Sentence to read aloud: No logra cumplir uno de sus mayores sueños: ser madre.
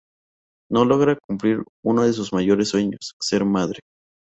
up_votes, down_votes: 2, 0